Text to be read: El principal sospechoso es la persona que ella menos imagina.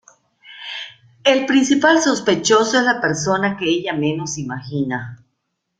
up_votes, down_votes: 2, 0